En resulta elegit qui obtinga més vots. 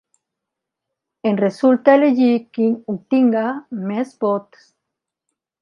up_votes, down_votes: 2, 0